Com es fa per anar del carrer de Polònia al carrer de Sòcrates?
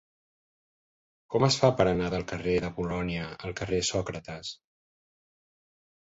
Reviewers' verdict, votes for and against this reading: rejected, 1, 2